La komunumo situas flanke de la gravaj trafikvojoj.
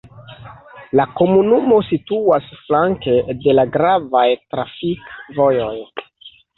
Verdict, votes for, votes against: accepted, 2, 0